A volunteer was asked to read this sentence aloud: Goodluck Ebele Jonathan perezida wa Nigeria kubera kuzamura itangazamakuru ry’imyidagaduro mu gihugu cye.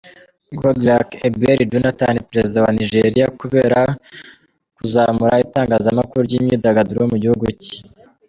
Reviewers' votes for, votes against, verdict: 2, 0, accepted